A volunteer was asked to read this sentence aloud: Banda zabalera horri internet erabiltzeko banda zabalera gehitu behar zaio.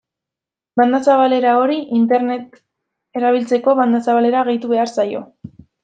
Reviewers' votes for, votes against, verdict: 1, 2, rejected